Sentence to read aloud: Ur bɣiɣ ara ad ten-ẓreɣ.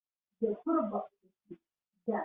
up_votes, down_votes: 0, 2